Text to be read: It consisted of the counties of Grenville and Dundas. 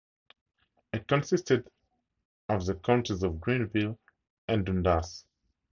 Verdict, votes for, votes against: accepted, 2, 0